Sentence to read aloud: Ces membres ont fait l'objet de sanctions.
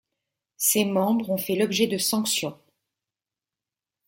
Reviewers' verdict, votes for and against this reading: accepted, 2, 0